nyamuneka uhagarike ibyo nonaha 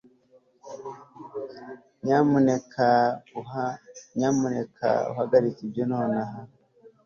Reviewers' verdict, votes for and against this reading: rejected, 0, 2